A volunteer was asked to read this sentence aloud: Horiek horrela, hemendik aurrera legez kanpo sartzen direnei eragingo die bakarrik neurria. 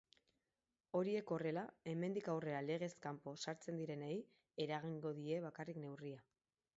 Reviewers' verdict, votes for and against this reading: rejected, 0, 2